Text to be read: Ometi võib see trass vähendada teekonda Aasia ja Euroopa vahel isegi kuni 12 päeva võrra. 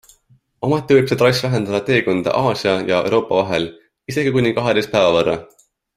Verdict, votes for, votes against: rejected, 0, 2